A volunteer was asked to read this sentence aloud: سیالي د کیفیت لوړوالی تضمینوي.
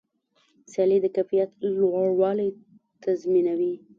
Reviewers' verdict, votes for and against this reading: rejected, 1, 2